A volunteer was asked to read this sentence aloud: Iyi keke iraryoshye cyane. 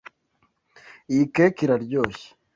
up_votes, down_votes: 1, 2